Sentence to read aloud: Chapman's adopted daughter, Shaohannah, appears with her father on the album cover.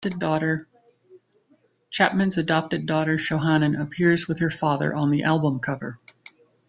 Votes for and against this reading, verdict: 1, 2, rejected